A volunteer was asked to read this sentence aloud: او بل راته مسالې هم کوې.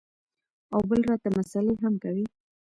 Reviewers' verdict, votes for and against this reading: accepted, 2, 1